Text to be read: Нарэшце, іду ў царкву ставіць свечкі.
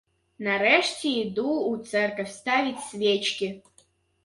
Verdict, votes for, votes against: rejected, 1, 2